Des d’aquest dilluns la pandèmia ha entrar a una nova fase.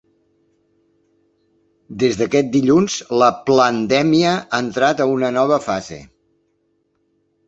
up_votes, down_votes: 0, 2